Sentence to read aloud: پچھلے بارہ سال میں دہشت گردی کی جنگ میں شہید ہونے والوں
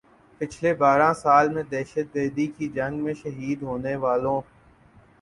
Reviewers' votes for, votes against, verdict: 4, 0, accepted